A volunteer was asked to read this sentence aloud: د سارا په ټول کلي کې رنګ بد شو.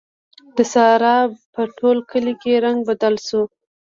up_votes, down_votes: 0, 2